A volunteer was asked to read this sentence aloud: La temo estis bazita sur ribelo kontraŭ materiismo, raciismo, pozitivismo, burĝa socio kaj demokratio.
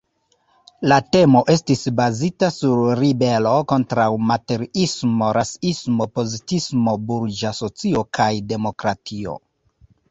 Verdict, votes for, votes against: rejected, 0, 2